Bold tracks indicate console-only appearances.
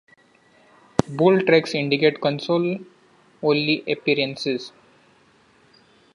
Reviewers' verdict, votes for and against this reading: accepted, 2, 1